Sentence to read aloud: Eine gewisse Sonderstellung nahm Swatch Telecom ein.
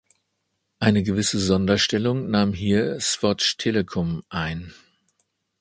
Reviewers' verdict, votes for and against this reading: rejected, 1, 2